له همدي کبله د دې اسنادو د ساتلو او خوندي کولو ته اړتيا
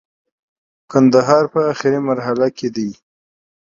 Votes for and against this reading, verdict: 0, 2, rejected